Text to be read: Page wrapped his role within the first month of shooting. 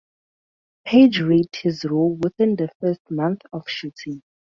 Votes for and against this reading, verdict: 0, 2, rejected